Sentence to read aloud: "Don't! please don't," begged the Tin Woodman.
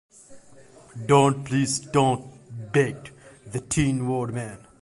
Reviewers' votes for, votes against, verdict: 2, 0, accepted